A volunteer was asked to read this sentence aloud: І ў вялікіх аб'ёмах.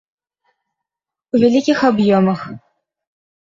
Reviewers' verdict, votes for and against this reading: rejected, 0, 2